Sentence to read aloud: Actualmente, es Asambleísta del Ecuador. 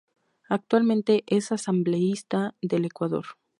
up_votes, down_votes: 2, 0